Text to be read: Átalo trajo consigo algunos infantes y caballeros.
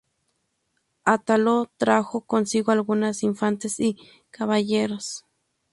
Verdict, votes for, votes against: rejected, 0, 2